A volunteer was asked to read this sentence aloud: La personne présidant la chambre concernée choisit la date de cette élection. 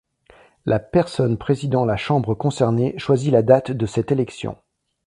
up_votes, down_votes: 2, 0